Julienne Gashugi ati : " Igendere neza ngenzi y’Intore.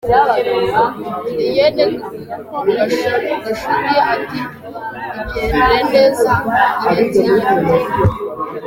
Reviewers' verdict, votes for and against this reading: rejected, 0, 2